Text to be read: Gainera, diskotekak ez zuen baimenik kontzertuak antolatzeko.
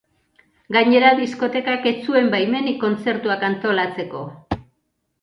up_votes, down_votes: 2, 0